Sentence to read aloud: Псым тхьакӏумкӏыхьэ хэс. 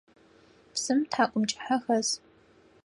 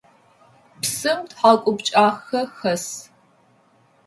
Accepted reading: first